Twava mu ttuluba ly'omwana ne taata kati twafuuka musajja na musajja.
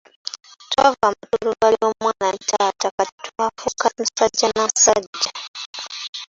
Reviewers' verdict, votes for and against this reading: rejected, 1, 2